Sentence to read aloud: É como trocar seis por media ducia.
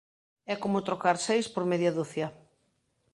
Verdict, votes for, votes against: accepted, 2, 0